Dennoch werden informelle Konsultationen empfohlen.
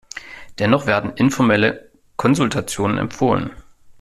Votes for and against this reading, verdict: 1, 2, rejected